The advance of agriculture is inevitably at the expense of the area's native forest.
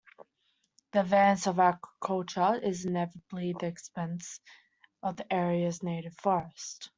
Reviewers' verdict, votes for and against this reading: accepted, 2, 0